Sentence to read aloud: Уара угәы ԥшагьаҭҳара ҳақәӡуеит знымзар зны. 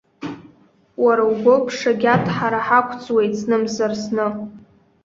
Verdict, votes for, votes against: rejected, 0, 2